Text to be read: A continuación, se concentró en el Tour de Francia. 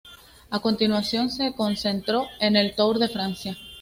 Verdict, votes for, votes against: accepted, 2, 0